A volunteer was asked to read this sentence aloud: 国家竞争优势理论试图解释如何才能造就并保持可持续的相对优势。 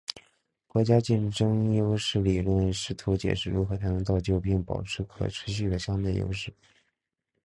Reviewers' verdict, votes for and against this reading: accepted, 3, 0